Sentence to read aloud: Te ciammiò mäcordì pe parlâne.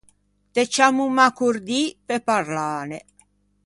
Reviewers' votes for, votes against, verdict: 0, 2, rejected